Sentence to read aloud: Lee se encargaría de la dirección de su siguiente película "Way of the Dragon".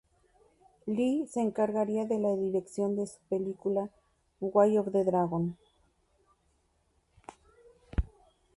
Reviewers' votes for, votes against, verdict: 0, 2, rejected